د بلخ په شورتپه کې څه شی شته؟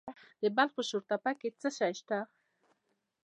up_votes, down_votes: 0, 2